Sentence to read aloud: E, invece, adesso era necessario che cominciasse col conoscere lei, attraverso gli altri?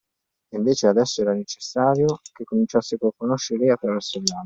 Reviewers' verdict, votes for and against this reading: rejected, 0, 2